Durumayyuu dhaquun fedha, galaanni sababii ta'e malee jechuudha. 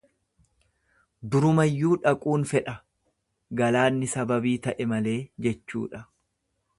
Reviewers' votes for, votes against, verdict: 2, 0, accepted